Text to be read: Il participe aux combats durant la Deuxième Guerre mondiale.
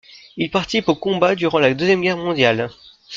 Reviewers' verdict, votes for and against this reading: rejected, 0, 2